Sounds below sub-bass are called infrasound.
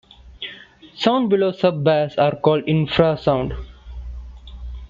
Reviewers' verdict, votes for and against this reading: accepted, 2, 0